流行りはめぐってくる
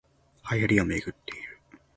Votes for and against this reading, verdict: 1, 2, rejected